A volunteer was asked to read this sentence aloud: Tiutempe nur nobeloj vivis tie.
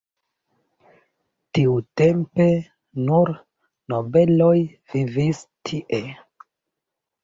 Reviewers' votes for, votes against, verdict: 1, 2, rejected